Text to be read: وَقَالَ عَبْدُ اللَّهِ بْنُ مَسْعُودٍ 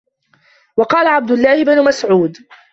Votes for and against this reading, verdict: 1, 2, rejected